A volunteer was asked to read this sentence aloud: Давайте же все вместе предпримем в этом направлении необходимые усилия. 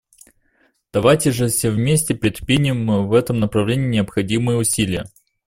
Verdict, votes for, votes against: accepted, 2, 0